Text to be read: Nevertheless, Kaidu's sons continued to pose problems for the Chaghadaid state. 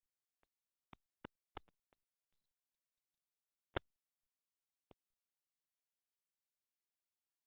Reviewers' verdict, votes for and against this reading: rejected, 0, 2